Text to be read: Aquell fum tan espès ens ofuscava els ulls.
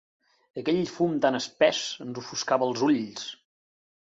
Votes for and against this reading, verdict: 3, 0, accepted